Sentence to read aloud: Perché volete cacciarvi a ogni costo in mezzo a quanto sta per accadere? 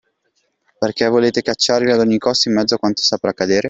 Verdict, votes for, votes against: accepted, 2, 1